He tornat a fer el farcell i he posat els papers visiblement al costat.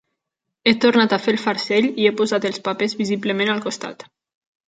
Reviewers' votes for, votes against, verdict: 3, 0, accepted